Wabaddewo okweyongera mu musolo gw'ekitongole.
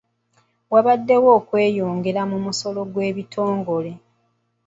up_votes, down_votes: 0, 2